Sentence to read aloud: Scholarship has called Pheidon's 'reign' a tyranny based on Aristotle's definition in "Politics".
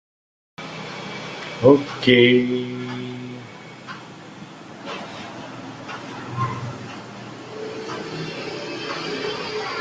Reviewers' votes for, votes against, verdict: 0, 3, rejected